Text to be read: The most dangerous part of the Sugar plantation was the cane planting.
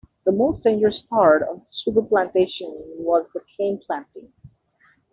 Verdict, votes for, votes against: rejected, 1, 2